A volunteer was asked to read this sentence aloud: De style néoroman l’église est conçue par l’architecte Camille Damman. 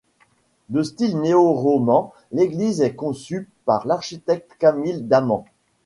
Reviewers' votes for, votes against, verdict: 0, 2, rejected